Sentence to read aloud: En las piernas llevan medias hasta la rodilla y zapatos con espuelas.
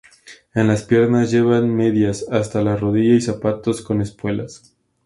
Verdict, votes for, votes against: accepted, 2, 0